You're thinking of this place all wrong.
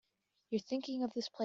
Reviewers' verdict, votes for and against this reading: rejected, 0, 2